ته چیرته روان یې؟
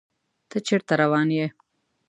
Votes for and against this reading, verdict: 2, 0, accepted